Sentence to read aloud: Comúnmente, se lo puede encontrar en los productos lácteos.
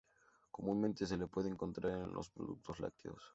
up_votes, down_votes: 0, 2